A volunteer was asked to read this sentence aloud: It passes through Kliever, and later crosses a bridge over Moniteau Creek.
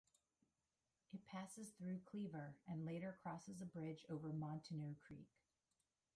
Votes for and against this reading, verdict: 0, 3, rejected